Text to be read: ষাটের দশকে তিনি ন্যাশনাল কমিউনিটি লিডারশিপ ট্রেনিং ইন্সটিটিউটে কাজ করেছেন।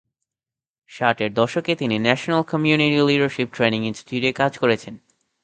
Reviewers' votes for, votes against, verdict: 0, 2, rejected